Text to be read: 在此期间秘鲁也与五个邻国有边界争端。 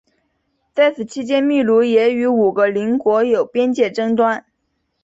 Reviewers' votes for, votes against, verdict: 2, 0, accepted